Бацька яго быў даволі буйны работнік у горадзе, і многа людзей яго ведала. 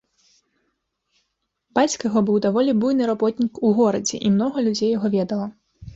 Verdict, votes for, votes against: accepted, 2, 0